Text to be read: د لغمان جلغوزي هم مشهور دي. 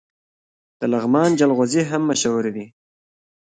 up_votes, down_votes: 0, 2